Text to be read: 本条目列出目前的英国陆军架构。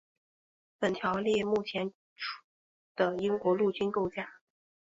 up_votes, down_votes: 2, 0